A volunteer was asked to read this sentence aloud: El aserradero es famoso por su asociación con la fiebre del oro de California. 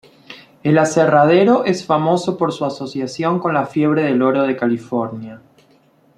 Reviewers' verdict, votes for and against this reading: accepted, 2, 0